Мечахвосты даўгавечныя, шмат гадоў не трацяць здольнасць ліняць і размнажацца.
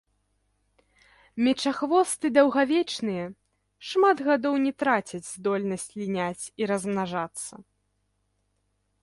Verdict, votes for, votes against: rejected, 0, 2